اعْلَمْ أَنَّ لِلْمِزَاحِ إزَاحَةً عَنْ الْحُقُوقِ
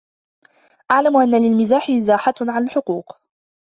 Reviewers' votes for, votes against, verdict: 0, 2, rejected